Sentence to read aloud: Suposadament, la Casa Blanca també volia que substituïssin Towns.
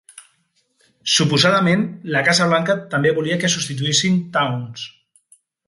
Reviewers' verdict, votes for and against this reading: accepted, 3, 0